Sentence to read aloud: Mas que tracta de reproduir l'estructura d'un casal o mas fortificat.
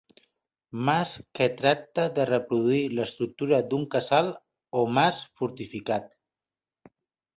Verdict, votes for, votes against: accepted, 2, 0